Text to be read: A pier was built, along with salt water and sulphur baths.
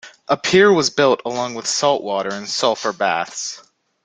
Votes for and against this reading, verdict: 2, 0, accepted